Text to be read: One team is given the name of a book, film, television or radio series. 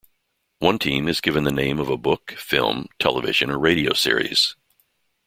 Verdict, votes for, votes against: accepted, 2, 0